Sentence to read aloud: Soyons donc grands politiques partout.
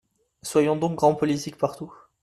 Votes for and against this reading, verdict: 2, 0, accepted